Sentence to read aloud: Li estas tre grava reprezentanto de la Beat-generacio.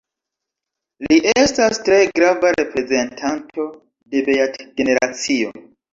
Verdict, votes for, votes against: rejected, 0, 2